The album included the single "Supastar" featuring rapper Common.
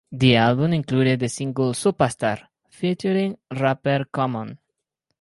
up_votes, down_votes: 4, 0